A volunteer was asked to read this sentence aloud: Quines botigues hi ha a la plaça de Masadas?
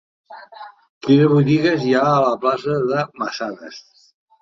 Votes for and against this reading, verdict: 1, 2, rejected